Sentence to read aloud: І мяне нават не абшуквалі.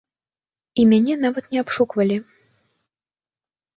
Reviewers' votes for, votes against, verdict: 2, 0, accepted